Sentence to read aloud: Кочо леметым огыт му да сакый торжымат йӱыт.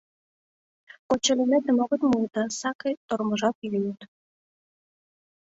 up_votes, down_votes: 0, 2